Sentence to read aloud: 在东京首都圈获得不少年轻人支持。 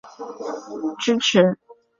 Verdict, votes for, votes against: rejected, 0, 2